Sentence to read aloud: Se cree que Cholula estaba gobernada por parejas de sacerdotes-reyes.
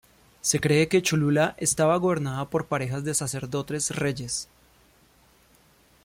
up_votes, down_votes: 1, 2